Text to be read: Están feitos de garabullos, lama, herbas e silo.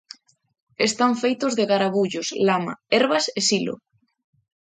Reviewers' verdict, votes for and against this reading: accepted, 2, 0